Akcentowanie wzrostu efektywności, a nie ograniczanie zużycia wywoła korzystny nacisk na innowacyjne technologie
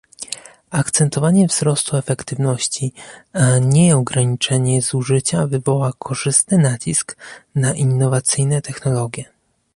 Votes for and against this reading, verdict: 0, 2, rejected